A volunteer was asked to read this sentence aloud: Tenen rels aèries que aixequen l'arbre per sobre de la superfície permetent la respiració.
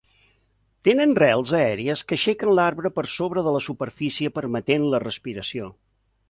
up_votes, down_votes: 2, 0